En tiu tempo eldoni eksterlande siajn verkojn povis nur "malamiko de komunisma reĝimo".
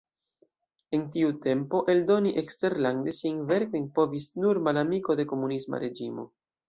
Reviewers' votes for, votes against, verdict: 1, 3, rejected